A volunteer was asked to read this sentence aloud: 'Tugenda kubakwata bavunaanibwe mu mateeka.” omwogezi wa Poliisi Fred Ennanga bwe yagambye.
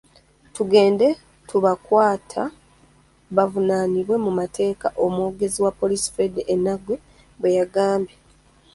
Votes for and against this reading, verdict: 1, 2, rejected